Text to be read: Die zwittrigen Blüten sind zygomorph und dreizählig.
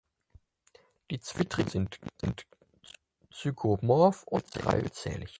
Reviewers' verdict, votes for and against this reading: rejected, 0, 4